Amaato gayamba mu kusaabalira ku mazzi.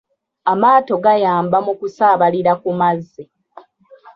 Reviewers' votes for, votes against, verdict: 0, 3, rejected